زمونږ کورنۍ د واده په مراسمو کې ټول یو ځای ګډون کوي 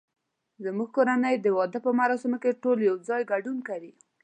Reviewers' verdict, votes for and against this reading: accepted, 2, 0